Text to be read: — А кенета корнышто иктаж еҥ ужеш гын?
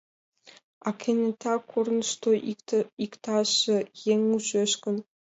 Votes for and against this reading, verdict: 1, 2, rejected